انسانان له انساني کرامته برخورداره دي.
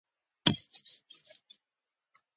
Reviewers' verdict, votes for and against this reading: accepted, 2, 1